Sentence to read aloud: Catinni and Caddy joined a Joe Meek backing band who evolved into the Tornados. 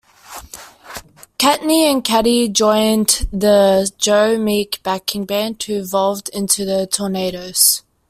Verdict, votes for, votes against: rejected, 0, 2